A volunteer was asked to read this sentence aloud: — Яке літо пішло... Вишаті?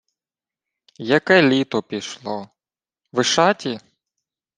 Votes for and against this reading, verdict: 2, 0, accepted